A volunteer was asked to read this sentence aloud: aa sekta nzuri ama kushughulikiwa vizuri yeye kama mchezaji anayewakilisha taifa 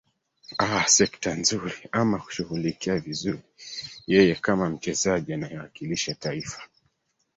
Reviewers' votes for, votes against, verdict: 1, 2, rejected